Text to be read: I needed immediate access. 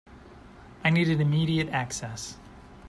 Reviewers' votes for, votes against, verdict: 2, 0, accepted